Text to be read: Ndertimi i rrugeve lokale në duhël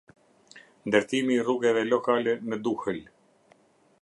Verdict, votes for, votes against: rejected, 0, 2